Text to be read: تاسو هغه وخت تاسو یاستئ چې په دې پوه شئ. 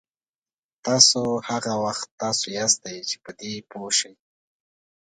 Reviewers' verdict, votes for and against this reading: accepted, 2, 0